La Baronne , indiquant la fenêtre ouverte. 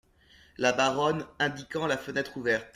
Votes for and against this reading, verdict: 2, 0, accepted